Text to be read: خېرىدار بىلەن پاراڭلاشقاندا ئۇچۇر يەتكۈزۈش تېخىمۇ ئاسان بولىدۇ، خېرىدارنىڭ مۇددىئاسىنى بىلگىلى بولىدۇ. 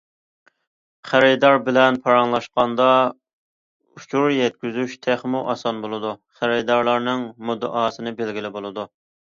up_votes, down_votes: 2, 1